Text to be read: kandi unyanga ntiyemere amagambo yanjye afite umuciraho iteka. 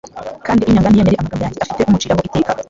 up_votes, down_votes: 1, 2